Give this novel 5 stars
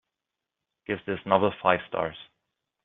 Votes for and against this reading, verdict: 0, 2, rejected